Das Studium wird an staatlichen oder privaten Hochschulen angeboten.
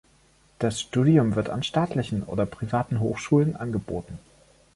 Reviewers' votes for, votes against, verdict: 2, 0, accepted